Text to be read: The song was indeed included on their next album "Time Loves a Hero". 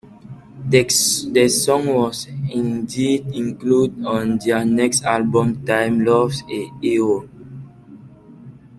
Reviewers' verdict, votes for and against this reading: rejected, 0, 2